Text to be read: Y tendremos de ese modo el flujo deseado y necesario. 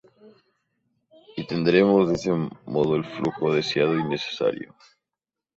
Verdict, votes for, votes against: accepted, 2, 0